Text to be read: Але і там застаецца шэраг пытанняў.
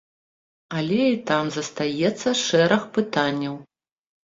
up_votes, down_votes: 2, 0